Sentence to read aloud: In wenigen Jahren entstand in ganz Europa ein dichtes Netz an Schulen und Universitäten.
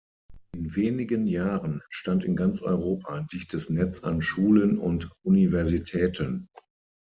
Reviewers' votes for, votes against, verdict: 3, 6, rejected